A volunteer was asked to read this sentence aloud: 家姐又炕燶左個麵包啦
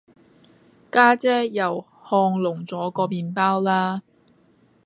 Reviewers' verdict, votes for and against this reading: rejected, 1, 2